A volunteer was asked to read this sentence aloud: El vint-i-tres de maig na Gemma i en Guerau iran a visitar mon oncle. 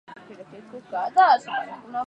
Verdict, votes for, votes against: rejected, 0, 2